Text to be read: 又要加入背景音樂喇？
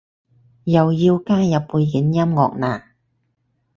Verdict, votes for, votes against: accepted, 4, 0